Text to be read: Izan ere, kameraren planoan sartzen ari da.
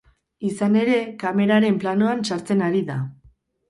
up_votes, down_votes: 2, 2